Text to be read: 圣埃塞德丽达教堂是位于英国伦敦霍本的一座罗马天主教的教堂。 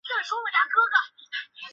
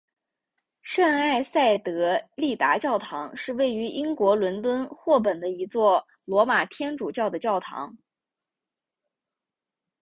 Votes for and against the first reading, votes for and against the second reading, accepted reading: 0, 2, 3, 0, second